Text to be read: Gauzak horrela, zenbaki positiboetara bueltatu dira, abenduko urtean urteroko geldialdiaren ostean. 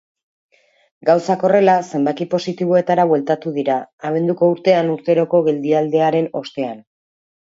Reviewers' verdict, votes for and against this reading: accepted, 2, 0